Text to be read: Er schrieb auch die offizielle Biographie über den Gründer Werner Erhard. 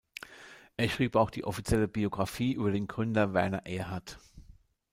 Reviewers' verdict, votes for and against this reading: rejected, 0, 2